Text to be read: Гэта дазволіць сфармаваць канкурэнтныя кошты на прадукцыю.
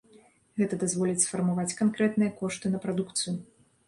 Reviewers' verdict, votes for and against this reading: rejected, 0, 2